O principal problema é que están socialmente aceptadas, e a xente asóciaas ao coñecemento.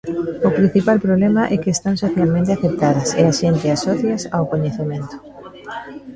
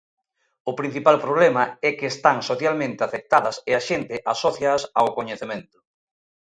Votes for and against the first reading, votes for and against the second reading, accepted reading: 0, 2, 2, 0, second